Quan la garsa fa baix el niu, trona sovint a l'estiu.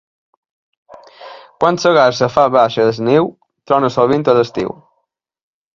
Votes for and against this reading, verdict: 1, 2, rejected